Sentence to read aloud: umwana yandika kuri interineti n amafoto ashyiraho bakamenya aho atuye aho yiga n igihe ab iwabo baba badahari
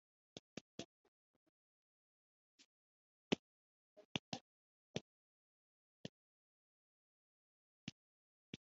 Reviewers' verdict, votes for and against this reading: rejected, 0, 3